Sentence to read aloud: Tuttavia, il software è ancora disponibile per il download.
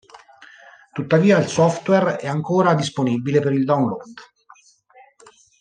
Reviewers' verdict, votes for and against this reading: accepted, 2, 0